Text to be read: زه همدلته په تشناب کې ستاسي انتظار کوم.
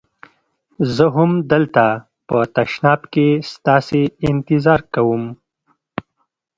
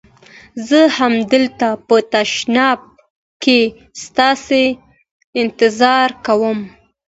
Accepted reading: second